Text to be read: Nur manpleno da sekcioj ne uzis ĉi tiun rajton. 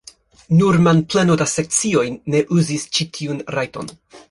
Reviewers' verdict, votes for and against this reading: accepted, 2, 1